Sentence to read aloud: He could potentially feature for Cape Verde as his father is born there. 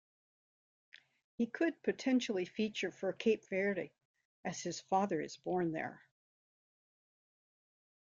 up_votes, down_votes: 2, 0